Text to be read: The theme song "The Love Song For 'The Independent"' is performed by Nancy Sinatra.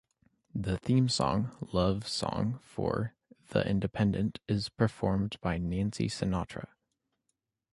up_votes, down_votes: 2, 0